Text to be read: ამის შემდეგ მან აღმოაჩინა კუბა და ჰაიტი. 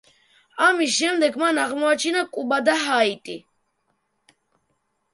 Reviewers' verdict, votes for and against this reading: rejected, 0, 2